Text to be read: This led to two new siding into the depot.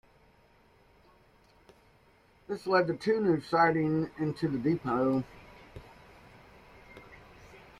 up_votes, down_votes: 0, 2